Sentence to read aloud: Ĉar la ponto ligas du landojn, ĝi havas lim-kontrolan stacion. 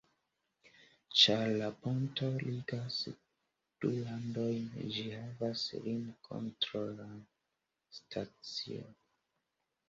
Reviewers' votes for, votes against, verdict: 2, 0, accepted